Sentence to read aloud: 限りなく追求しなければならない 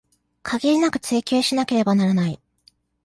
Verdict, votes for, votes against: accepted, 2, 1